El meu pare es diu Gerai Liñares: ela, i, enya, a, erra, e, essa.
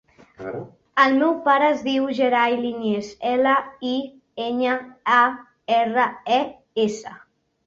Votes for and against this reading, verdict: 2, 4, rejected